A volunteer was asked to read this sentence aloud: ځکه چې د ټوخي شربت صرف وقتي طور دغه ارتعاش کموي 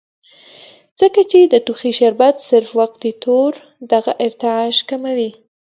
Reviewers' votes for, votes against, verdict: 2, 0, accepted